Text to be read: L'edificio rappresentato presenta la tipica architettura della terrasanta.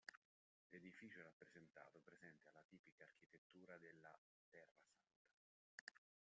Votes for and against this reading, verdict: 0, 2, rejected